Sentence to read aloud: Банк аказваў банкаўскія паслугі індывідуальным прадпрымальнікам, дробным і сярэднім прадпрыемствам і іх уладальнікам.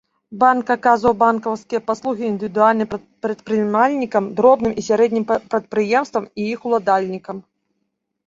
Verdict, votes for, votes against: rejected, 1, 2